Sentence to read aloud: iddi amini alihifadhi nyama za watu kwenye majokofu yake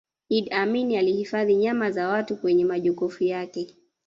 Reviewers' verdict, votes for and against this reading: rejected, 0, 2